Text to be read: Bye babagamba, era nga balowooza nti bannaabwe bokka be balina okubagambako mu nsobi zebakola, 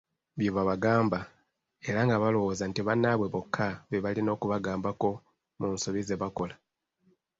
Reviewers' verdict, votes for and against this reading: accepted, 2, 0